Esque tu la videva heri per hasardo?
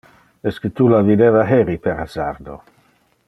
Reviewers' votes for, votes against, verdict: 2, 0, accepted